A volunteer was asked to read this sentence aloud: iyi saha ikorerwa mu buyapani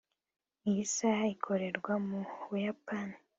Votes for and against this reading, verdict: 3, 1, accepted